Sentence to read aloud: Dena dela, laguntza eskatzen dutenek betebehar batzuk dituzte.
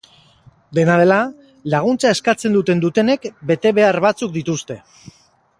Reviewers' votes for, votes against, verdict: 0, 2, rejected